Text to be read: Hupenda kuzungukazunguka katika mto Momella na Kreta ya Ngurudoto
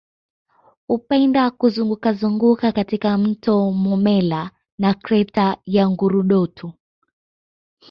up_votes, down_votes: 2, 0